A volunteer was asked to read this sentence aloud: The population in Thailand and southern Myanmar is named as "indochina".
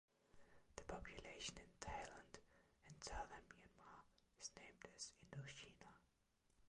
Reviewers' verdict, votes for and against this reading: rejected, 0, 2